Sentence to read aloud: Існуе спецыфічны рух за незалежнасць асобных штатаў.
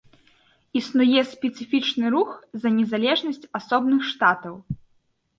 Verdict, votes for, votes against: accepted, 2, 0